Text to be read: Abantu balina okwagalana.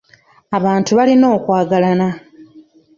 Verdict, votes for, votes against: accepted, 2, 0